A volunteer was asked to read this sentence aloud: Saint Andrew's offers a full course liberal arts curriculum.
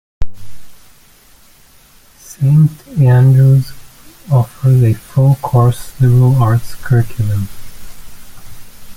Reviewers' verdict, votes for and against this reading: accepted, 2, 1